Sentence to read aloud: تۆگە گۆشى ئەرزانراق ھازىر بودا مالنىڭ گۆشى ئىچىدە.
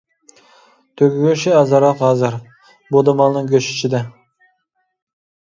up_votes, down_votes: 0, 2